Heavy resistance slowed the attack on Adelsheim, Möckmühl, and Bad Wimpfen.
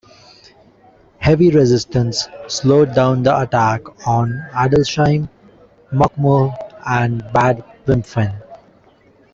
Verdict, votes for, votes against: rejected, 0, 2